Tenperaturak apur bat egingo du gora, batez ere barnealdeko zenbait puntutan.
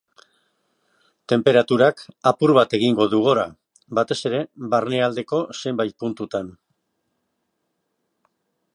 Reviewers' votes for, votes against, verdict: 3, 2, accepted